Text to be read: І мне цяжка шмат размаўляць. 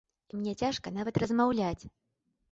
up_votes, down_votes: 1, 2